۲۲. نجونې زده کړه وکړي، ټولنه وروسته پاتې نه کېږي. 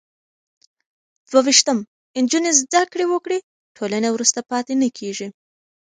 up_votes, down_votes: 0, 2